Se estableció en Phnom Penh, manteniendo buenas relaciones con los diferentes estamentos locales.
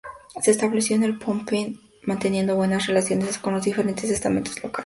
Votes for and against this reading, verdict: 0, 2, rejected